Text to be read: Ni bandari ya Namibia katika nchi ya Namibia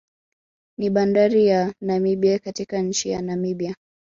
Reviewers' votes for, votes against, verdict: 2, 1, accepted